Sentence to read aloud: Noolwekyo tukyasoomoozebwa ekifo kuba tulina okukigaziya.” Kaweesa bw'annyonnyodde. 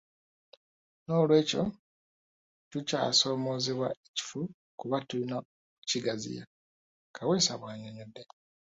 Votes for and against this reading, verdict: 0, 2, rejected